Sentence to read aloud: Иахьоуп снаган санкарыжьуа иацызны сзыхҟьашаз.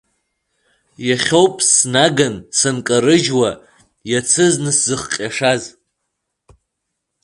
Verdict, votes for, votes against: rejected, 0, 2